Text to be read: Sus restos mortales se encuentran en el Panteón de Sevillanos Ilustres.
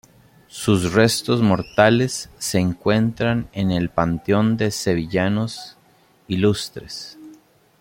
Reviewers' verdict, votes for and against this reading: accepted, 2, 0